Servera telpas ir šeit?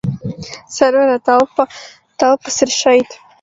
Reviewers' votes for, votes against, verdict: 0, 2, rejected